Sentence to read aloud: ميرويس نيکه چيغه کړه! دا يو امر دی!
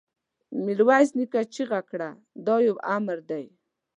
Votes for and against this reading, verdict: 2, 0, accepted